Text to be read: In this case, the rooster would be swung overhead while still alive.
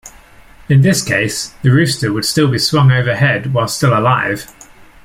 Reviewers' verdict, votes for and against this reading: accepted, 2, 0